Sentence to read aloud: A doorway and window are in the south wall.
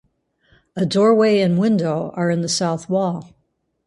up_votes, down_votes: 2, 4